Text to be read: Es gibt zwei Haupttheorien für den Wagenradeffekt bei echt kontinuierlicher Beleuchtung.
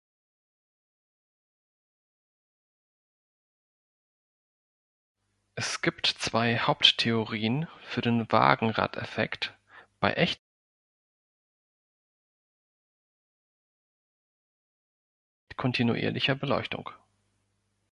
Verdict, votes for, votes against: rejected, 0, 2